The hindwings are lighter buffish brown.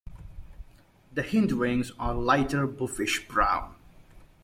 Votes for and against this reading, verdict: 2, 0, accepted